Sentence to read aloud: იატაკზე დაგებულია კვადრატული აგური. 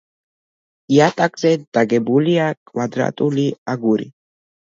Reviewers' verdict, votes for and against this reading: accepted, 2, 0